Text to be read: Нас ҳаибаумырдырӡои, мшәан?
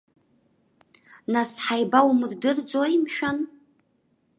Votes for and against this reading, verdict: 2, 0, accepted